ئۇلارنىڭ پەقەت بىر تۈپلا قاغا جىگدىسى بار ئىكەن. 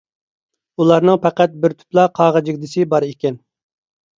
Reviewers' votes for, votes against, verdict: 2, 0, accepted